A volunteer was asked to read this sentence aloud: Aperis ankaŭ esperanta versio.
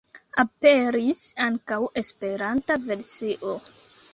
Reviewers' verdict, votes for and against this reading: rejected, 1, 2